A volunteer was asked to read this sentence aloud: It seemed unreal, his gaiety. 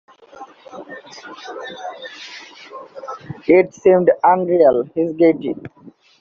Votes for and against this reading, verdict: 1, 2, rejected